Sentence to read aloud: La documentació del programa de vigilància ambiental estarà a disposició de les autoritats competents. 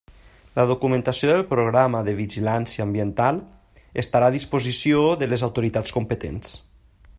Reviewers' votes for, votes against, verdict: 3, 0, accepted